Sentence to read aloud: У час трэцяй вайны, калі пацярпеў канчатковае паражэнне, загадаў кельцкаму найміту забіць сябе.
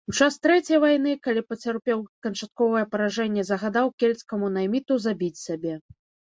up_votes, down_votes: 0, 2